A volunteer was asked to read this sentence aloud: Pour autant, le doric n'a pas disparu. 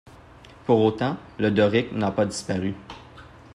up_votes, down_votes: 2, 0